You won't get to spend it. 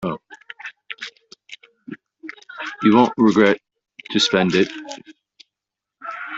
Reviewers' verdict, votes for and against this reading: rejected, 0, 2